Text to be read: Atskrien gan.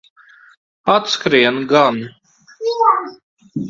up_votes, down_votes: 1, 2